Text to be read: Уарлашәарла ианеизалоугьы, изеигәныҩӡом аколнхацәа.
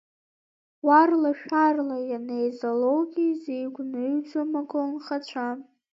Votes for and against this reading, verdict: 1, 2, rejected